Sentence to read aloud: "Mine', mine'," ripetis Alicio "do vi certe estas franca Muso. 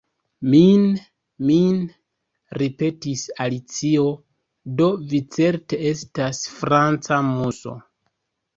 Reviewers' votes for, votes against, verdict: 2, 1, accepted